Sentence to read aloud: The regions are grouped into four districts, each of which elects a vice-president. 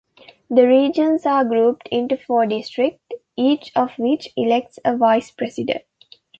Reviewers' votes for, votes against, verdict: 2, 0, accepted